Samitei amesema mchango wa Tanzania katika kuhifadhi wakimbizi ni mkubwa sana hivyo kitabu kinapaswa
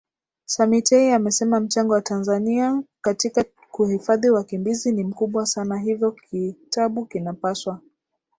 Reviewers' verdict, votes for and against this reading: accepted, 2, 0